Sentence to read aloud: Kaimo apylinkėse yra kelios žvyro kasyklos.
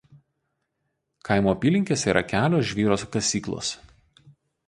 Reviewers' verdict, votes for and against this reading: rejected, 0, 2